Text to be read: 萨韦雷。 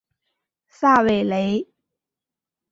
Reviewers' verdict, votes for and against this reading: accepted, 2, 0